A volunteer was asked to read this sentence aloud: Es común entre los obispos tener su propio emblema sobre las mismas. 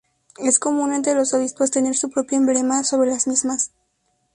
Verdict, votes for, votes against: accepted, 2, 0